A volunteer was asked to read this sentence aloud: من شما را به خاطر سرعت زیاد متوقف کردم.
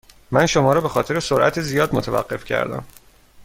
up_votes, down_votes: 2, 0